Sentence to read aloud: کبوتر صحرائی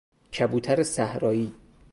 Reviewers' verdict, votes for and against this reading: rejected, 2, 2